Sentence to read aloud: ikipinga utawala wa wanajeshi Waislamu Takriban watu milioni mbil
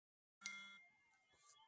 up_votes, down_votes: 0, 2